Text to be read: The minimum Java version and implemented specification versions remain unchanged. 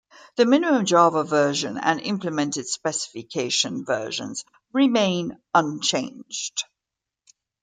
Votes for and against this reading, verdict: 2, 0, accepted